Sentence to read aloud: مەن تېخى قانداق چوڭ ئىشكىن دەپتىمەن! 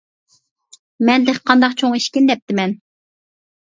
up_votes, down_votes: 0, 2